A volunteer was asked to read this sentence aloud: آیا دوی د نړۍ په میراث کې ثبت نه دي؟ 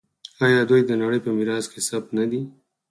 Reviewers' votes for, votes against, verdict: 4, 2, accepted